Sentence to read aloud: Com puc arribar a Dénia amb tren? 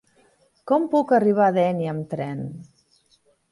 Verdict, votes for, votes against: accepted, 3, 0